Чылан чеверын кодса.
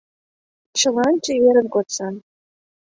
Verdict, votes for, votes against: accepted, 2, 0